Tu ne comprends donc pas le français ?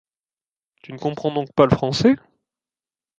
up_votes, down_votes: 2, 0